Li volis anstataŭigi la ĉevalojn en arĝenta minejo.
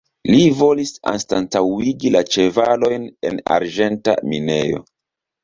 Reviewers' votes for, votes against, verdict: 2, 0, accepted